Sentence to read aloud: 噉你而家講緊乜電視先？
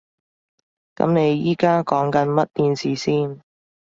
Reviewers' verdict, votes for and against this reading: rejected, 1, 2